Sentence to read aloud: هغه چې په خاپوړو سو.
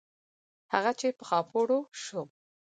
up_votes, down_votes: 4, 0